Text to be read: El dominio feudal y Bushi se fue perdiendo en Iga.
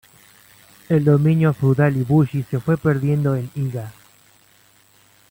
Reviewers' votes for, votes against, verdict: 2, 0, accepted